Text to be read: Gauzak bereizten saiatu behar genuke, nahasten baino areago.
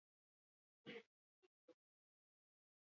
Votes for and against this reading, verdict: 0, 4, rejected